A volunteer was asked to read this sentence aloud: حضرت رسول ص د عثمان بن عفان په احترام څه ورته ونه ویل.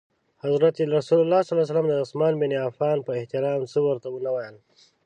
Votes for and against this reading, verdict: 2, 0, accepted